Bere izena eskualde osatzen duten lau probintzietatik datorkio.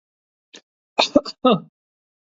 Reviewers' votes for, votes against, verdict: 0, 2, rejected